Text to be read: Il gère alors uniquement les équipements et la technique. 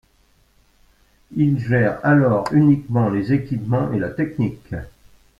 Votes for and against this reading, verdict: 3, 0, accepted